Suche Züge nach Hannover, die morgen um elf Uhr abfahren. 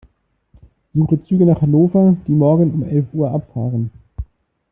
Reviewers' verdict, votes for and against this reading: accepted, 2, 0